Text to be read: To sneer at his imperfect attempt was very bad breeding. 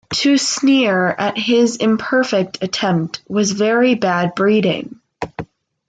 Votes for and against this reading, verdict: 2, 1, accepted